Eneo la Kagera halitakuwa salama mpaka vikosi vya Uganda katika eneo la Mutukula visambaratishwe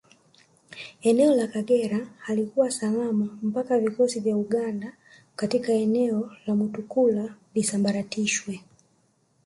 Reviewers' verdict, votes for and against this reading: rejected, 1, 2